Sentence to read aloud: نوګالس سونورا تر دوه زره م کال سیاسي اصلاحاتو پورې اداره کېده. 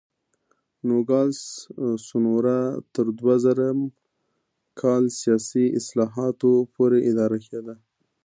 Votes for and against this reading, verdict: 2, 1, accepted